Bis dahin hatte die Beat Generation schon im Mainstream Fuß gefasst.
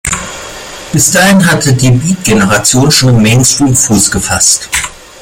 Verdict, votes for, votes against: rejected, 1, 2